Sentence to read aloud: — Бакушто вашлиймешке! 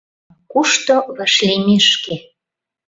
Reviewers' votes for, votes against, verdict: 0, 2, rejected